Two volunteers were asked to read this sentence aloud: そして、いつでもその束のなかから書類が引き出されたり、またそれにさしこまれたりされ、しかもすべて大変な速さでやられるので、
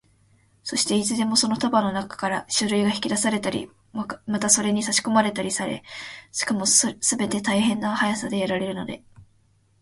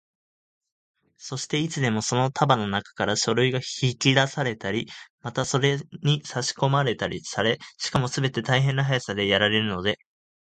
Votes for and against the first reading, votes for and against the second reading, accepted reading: 2, 3, 2, 0, second